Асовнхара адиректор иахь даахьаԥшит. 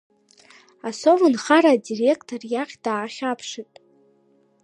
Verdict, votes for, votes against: rejected, 1, 2